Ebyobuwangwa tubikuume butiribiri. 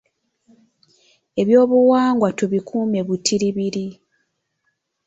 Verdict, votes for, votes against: accepted, 2, 0